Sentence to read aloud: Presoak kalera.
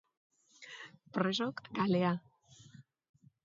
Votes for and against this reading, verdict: 0, 2, rejected